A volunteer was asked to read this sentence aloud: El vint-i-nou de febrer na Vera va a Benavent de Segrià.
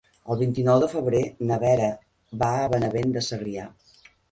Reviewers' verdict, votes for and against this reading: accepted, 6, 0